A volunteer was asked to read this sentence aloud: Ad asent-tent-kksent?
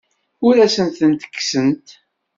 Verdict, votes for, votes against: rejected, 1, 2